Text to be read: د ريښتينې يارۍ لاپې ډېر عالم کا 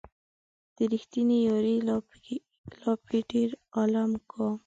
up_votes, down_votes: 1, 2